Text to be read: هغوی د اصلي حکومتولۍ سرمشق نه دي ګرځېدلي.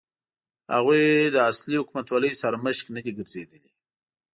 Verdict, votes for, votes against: accepted, 3, 0